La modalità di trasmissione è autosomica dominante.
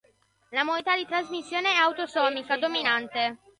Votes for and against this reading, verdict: 0, 2, rejected